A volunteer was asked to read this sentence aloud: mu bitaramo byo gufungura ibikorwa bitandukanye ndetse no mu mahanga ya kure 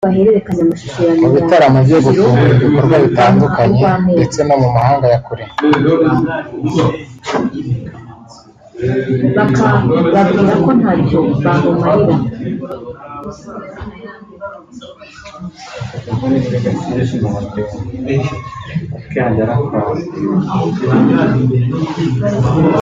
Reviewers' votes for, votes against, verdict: 1, 2, rejected